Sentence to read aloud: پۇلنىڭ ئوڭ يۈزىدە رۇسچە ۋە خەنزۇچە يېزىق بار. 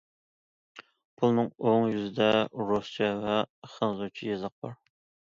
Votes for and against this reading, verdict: 2, 0, accepted